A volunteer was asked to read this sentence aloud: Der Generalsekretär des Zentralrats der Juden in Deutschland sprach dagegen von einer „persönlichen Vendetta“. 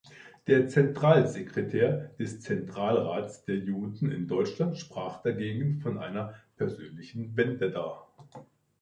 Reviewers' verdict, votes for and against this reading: rejected, 0, 2